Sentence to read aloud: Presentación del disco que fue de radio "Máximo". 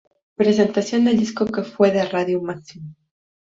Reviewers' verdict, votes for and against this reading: rejected, 0, 2